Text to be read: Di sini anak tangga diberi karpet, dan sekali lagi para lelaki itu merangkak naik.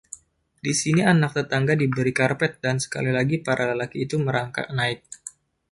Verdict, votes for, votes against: rejected, 1, 2